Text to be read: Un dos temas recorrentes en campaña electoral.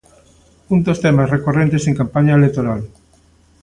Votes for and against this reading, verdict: 2, 0, accepted